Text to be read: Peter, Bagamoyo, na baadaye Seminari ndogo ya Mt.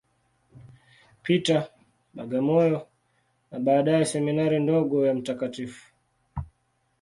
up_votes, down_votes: 1, 2